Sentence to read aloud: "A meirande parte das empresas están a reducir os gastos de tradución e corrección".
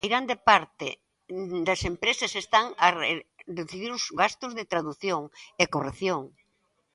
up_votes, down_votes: 1, 2